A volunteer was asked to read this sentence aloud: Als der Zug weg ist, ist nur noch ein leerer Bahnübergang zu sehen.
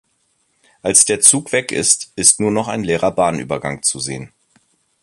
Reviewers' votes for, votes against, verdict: 3, 0, accepted